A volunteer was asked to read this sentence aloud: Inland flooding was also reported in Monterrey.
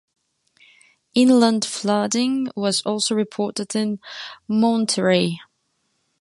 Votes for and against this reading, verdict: 2, 0, accepted